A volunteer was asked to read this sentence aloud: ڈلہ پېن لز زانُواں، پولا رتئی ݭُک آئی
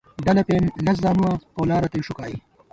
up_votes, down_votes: 0, 2